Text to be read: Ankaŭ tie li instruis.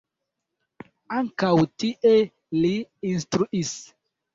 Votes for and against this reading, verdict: 0, 2, rejected